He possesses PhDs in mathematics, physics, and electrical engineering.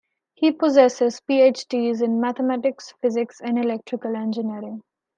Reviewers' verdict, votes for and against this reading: accepted, 2, 0